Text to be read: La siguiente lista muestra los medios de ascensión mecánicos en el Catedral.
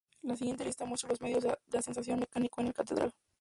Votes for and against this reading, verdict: 0, 2, rejected